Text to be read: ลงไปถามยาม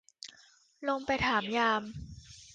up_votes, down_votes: 2, 0